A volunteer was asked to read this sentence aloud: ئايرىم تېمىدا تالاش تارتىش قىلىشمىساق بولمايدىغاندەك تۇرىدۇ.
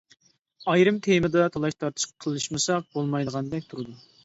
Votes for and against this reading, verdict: 2, 0, accepted